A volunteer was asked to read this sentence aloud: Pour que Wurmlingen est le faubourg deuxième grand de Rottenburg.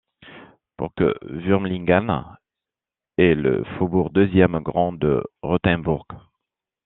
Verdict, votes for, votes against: rejected, 1, 2